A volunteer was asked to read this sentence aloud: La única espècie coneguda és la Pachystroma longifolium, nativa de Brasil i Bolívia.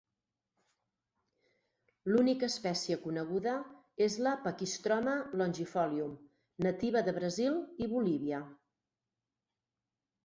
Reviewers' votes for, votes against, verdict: 2, 4, rejected